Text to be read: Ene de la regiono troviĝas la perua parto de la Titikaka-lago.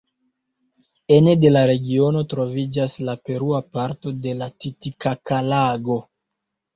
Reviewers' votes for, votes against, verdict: 0, 2, rejected